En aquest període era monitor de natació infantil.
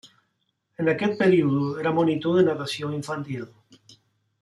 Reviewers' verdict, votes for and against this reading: rejected, 0, 2